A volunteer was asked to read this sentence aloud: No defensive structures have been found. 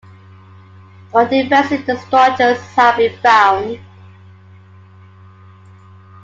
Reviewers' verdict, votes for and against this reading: rejected, 0, 2